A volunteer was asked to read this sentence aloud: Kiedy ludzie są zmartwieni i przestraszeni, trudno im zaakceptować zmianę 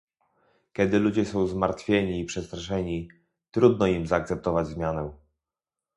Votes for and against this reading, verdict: 2, 0, accepted